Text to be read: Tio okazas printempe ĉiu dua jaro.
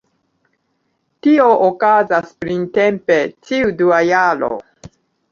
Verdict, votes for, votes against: accepted, 2, 0